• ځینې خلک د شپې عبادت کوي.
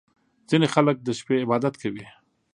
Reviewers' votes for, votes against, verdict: 2, 0, accepted